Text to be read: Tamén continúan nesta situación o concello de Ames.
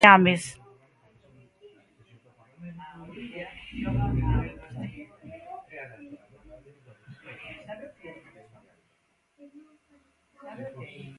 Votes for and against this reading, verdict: 0, 2, rejected